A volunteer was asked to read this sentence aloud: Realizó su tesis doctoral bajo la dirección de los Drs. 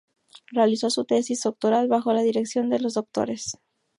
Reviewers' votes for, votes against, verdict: 4, 0, accepted